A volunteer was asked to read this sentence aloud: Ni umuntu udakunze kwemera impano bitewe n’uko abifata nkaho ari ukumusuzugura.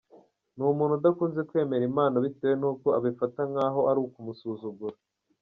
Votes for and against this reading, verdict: 2, 0, accepted